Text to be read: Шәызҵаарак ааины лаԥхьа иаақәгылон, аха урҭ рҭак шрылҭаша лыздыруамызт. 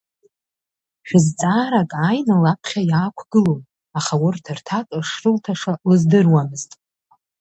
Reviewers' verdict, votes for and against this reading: rejected, 0, 2